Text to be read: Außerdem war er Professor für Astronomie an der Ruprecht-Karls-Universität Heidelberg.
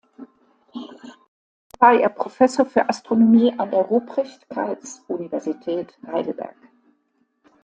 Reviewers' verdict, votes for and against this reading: rejected, 0, 2